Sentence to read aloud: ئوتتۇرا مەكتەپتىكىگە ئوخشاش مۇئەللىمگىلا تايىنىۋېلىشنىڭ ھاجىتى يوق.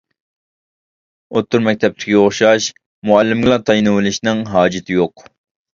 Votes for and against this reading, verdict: 2, 1, accepted